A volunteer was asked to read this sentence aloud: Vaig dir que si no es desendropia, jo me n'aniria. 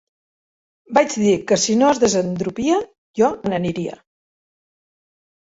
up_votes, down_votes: 1, 3